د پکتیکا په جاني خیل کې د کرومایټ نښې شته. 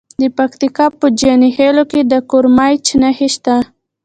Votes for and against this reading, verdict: 2, 0, accepted